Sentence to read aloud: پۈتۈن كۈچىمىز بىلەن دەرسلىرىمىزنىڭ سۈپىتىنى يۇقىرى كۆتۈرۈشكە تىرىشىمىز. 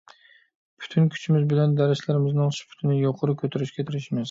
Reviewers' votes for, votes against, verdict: 2, 0, accepted